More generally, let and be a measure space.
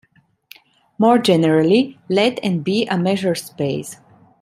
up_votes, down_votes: 1, 2